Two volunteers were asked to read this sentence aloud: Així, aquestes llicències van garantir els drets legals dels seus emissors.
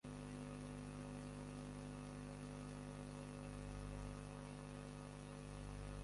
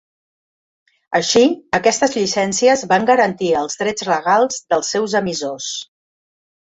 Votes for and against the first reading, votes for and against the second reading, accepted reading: 0, 2, 3, 0, second